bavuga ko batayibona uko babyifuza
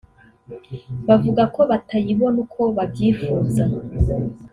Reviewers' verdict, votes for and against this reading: accepted, 2, 1